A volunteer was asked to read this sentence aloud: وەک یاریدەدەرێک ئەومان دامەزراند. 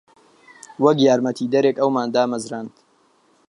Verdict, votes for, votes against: rejected, 1, 3